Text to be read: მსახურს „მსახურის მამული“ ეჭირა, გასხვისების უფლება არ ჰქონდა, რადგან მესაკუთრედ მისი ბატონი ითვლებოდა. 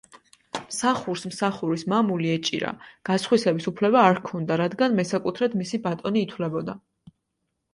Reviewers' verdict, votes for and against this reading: accepted, 3, 0